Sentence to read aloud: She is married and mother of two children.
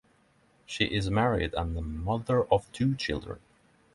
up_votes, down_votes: 3, 6